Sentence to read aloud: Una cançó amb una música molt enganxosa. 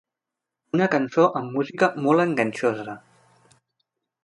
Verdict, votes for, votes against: rejected, 1, 2